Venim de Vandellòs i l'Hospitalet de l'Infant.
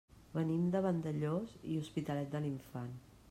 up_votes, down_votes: 1, 2